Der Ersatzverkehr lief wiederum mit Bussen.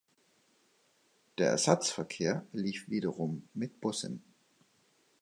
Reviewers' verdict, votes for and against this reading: accepted, 2, 0